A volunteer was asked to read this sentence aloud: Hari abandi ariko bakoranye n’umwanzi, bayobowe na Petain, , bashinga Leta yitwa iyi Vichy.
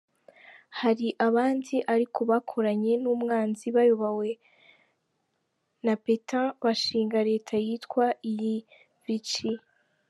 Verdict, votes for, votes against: accepted, 2, 1